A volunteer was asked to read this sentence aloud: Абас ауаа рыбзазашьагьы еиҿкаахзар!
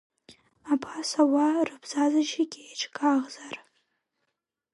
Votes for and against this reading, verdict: 1, 2, rejected